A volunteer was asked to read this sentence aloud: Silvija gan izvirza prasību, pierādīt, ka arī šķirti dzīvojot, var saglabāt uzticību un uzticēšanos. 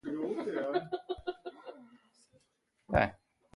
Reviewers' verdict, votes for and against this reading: rejected, 0, 2